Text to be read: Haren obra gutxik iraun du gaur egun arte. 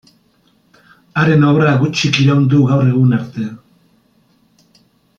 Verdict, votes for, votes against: accepted, 2, 0